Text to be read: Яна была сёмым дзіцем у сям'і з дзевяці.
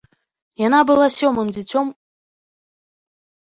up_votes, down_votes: 0, 2